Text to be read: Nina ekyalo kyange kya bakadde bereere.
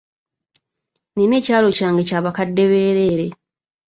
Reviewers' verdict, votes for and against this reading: accepted, 2, 0